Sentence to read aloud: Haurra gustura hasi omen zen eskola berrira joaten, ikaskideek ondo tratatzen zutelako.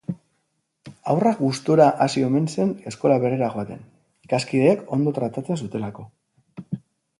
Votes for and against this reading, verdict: 0, 2, rejected